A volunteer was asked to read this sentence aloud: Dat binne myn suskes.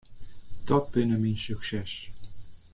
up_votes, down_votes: 0, 2